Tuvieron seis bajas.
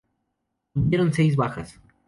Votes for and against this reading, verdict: 0, 2, rejected